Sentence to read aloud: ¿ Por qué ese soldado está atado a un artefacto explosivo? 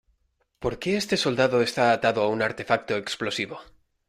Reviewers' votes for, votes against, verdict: 0, 2, rejected